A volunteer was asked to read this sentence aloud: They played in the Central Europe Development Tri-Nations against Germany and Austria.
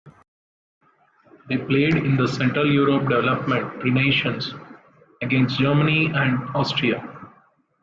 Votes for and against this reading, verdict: 2, 0, accepted